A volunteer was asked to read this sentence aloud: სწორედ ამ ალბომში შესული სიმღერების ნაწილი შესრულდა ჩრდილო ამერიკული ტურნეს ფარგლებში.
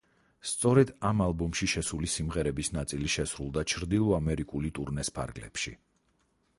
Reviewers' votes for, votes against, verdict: 4, 0, accepted